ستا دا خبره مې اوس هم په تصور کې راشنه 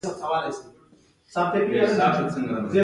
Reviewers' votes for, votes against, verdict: 2, 0, accepted